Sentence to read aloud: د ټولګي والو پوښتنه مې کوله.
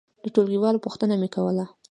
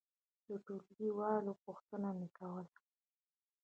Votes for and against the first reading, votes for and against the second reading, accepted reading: 2, 0, 0, 2, first